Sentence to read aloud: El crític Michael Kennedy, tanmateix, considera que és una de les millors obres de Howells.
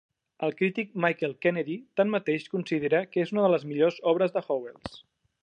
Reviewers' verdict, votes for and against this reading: accepted, 3, 0